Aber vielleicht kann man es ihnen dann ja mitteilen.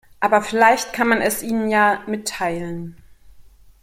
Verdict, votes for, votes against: rejected, 0, 2